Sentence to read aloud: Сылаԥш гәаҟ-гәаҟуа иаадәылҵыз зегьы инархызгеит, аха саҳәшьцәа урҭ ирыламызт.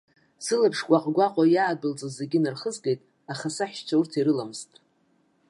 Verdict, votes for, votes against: accepted, 2, 0